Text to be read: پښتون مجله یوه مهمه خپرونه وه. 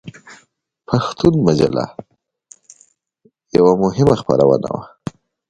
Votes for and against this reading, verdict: 1, 2, rejected